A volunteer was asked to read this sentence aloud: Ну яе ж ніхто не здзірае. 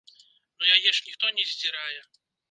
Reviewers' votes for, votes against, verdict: 2, 0, accepted